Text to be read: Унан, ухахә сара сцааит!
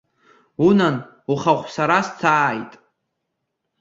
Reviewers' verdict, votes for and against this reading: rejected, 0, 2